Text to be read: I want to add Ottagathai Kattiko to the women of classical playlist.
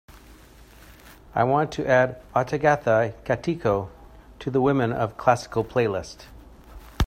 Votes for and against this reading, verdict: 2, 0, accepted